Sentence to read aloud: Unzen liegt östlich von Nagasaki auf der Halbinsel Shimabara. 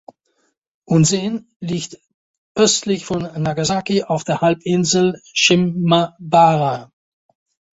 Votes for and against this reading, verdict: 0, 2, rejected